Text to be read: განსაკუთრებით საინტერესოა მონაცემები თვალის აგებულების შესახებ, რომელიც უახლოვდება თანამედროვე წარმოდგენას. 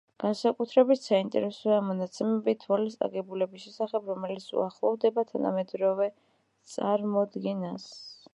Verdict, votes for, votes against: accepted, 2, 1